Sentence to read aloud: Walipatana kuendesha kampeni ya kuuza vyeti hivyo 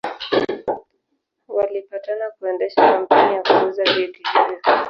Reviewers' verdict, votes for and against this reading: rejected, 0, 2